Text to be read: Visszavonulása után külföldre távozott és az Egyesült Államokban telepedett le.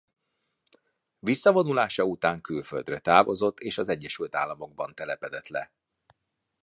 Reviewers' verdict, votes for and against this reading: accepted, 2, 1